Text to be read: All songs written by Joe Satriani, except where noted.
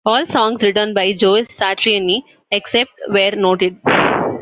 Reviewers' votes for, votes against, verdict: 1, 2, rejected